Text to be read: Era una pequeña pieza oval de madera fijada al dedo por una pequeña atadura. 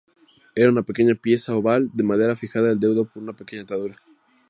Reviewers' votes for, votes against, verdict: 2, 0, accepted